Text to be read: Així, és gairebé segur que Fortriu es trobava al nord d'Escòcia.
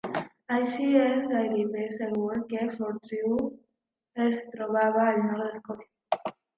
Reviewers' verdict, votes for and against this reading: rejected, 1, 2